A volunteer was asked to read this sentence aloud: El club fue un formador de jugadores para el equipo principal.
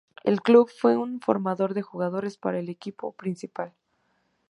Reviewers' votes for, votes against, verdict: 2, 0, accepted